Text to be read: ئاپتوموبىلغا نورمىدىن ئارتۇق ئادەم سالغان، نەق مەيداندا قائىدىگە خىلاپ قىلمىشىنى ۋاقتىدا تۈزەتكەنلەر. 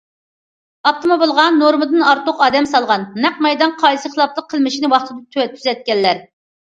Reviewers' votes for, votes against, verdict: 0, 2, rejected